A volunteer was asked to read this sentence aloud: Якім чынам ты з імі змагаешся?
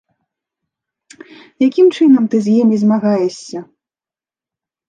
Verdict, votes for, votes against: rejected, 1, 2